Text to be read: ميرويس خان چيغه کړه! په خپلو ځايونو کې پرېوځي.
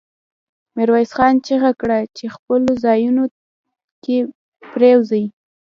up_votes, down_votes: 2, 0